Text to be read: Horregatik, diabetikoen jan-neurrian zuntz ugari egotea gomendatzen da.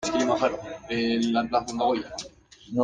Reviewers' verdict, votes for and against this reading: rejected, 0, 2